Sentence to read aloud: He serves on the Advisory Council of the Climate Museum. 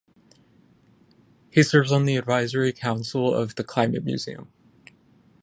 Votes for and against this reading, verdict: 15, 0, accepted